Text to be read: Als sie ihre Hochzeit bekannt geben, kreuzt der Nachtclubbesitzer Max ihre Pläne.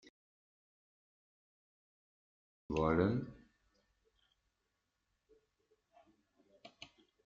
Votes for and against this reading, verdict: 0, 2, rejected